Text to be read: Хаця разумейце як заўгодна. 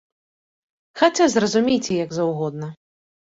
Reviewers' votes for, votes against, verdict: 1, 2, rejected